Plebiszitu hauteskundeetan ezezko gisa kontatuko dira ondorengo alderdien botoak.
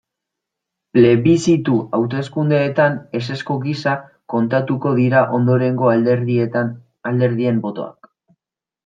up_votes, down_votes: 1, 2